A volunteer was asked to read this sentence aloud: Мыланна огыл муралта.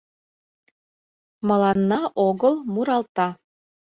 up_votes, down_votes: 2, 0